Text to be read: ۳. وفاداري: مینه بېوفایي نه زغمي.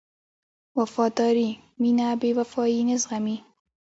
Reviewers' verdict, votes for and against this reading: rejected, 0, 2